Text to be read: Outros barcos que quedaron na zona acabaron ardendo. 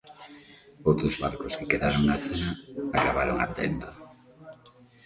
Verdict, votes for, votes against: accepted, 2, 0